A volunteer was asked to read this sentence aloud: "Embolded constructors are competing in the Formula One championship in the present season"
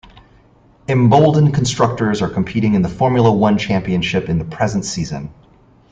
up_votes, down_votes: 1, 2